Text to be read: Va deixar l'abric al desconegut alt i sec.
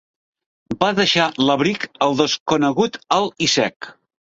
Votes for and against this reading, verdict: 1, 2, rejected